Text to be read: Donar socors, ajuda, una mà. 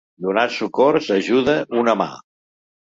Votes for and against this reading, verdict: 2, 0, accepted